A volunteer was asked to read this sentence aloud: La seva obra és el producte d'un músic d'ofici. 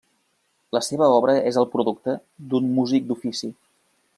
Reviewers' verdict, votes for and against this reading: accepted, 3, 0